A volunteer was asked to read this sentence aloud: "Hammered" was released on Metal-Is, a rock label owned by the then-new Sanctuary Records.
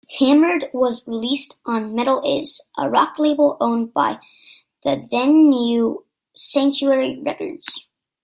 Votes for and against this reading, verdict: 2, 0, accepted